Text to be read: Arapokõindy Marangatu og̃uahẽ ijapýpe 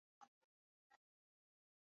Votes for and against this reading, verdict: 0, 2, rejected